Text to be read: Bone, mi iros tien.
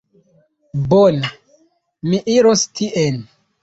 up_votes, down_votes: 1, 2